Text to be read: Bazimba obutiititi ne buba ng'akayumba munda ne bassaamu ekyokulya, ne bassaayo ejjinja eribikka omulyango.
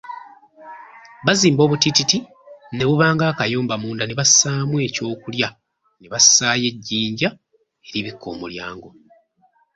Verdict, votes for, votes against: accepted, 3, 1